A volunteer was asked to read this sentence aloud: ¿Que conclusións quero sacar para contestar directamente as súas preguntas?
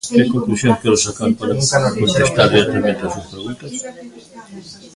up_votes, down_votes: 0, 2